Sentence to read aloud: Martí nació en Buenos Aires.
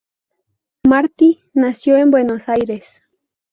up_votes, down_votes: 0, 2